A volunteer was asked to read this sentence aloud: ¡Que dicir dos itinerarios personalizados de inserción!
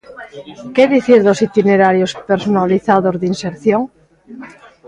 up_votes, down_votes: 2, 0